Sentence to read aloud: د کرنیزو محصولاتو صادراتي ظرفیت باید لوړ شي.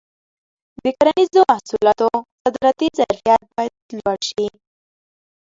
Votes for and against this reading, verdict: 0, 2, rejected